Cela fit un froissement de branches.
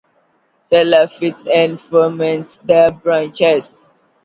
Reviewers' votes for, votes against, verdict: 0, 2, rejected